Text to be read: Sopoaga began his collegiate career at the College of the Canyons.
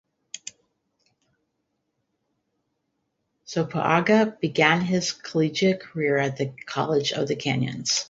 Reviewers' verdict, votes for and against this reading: rejected, 0, 2